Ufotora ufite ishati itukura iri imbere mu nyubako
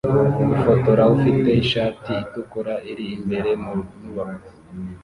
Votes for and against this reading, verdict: 0, 2, rejected